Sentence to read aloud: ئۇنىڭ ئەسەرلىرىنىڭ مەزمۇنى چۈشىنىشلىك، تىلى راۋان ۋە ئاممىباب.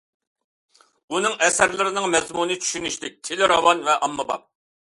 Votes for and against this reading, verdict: 2, 0, accepted